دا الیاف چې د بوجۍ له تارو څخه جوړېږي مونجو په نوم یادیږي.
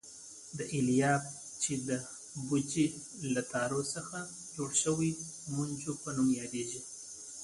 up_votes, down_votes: 2, 1